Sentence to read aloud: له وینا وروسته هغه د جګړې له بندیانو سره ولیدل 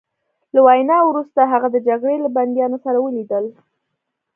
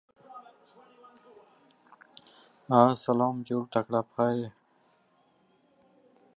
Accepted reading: first